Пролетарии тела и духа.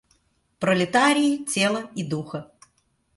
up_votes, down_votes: 2, 0